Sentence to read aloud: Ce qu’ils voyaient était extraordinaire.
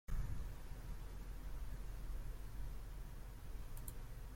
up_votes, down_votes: 0, 2